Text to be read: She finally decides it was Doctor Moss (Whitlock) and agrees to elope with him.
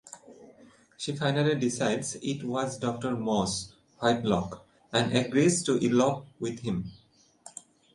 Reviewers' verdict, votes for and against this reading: rejected, 0, 2